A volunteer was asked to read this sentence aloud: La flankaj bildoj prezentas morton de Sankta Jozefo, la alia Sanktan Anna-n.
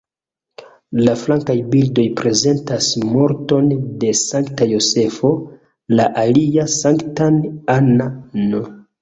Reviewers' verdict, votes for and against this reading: accepted, 2, 1